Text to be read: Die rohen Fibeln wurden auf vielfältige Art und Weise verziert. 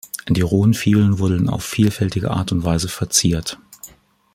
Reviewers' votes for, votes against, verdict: 2, 3, rejected